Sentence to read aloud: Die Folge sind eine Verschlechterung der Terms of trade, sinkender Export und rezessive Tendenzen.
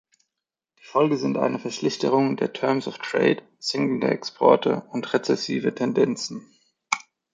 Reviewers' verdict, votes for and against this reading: rejected, 0, 2